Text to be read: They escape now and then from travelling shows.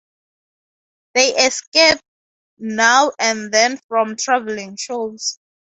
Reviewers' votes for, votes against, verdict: 2, 0, accepted